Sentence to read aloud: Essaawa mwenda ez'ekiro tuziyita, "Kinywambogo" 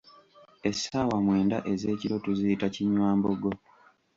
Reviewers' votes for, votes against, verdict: 2, 0, accepted